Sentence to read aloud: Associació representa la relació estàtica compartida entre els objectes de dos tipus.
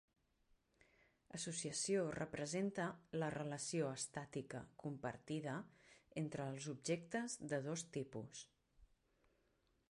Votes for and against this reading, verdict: 0, 2, rejected